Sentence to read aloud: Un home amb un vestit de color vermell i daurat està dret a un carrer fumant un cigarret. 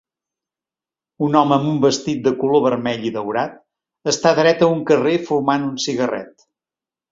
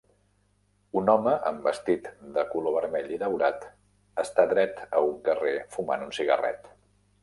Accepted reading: first